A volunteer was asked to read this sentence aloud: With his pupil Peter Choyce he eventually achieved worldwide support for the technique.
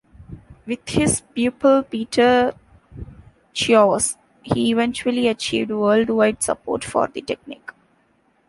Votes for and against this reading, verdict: 1, 2, rejected